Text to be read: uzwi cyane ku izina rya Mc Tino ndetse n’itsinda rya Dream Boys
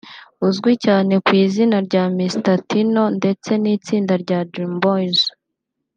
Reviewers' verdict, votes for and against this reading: accepted, 2, 0